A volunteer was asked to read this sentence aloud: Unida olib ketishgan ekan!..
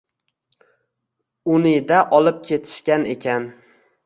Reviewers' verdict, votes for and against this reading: rejected, 1, 2